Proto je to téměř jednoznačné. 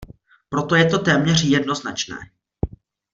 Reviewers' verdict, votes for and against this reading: accepted, 2, 0